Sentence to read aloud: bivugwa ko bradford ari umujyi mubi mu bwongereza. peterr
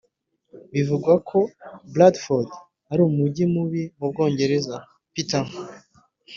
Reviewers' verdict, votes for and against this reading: accepted, 2, 0